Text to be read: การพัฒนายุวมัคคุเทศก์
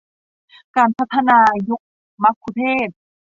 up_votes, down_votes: 0, 2